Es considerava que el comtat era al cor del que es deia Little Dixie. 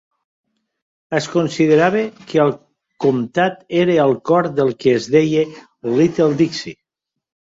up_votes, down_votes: 2, 0